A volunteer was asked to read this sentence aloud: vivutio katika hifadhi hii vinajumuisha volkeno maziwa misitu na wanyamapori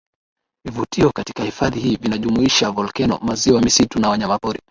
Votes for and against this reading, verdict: 9, 0, accepted